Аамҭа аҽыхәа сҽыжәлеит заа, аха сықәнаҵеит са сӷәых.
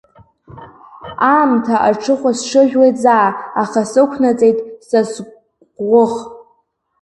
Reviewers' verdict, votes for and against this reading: rejected, 1, 2